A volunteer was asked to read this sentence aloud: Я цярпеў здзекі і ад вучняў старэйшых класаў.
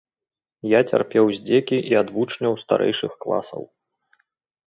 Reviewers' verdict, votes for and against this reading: accepted, 2, 0